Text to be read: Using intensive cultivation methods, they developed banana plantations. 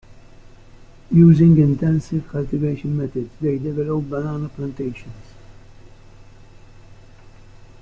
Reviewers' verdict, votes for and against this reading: accepted, 2, 1